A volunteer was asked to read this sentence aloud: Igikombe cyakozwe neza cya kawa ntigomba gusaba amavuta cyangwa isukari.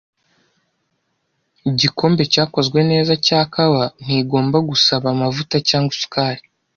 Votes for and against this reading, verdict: 2, 0, accepted